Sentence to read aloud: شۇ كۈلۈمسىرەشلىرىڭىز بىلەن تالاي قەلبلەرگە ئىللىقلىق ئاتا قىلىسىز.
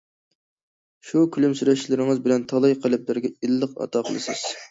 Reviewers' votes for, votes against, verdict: 0, 2, rejected